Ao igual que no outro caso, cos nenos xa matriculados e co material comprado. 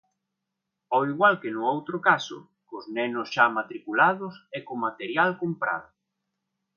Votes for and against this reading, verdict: 2, 0, accepted